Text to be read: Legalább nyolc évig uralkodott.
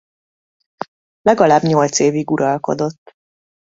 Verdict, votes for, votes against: accepted, 2, 0